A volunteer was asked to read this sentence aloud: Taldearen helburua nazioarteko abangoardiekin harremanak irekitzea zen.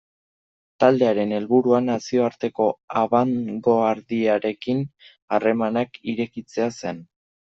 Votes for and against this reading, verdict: 0, 2, rejected